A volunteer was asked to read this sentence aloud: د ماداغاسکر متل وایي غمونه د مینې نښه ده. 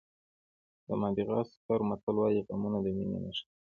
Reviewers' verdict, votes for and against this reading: accepted, 2, 1